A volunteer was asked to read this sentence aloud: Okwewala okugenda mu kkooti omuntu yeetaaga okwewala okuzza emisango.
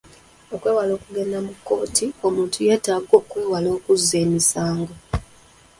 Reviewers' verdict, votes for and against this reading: accepted, 2, 1